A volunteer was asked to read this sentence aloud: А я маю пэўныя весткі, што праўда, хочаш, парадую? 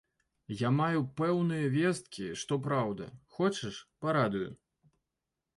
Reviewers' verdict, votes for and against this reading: accepted, 2, 1